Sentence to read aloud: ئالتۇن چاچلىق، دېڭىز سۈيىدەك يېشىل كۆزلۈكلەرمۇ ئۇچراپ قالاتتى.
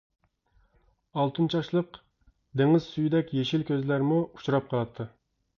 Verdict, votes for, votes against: rejected, 0, 2